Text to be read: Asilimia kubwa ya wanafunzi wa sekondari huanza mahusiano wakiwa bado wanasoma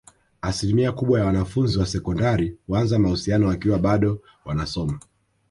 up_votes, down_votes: 0, 2